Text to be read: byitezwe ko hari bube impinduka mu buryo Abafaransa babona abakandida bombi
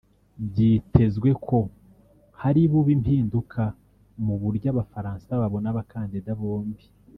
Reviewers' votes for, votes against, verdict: 1, 2, rejected